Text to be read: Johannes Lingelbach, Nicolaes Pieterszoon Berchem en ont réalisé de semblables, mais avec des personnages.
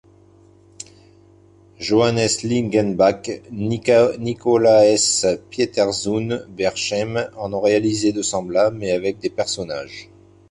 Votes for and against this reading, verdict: 0, 2, rejected